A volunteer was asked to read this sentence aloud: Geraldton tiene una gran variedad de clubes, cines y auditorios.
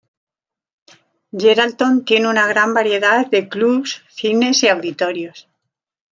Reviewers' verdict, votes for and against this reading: rejected, 1, 2